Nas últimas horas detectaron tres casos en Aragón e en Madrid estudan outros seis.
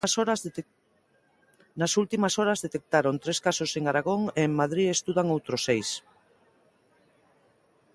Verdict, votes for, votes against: rejected, 1, 2